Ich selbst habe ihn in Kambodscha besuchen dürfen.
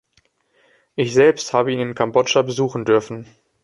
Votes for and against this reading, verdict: 2, 0, accepted